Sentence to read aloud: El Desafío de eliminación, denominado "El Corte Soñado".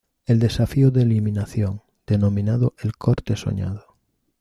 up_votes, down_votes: 2, 0